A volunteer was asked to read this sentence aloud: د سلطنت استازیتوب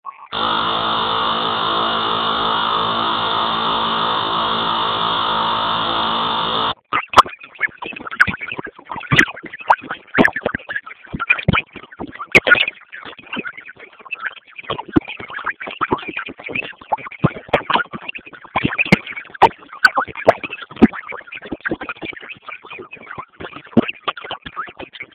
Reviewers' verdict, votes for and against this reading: rejected, 0, 2